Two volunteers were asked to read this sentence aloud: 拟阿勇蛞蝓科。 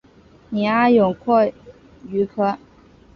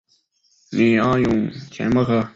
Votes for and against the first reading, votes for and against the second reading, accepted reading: 2, 0, 3, 4, first